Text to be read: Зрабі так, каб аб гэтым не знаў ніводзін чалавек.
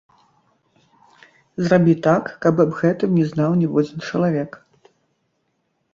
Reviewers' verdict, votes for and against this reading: rejected, 1, 2